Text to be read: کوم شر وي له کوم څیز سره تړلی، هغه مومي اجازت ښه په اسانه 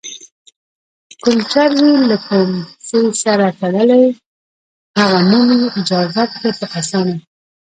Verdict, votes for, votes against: rejected, 1, 2